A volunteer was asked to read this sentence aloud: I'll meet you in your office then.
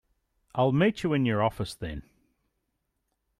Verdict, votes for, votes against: accepted, 2, 0